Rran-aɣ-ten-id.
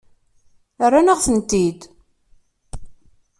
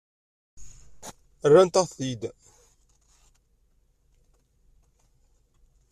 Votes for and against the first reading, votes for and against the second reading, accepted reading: 2, 1, 0, 2, first